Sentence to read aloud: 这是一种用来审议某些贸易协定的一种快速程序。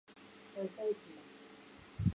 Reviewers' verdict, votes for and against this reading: rejected, 0, 3